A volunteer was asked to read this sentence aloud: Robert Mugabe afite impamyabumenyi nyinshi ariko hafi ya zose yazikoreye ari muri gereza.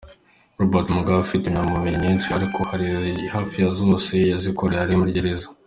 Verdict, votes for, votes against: rejected, 0, 2